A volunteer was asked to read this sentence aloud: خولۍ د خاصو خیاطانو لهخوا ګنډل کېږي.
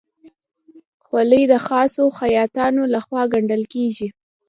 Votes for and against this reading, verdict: 2, 0, accepted